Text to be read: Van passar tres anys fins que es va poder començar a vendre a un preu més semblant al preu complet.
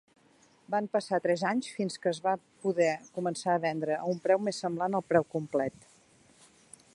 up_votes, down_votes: 3, 0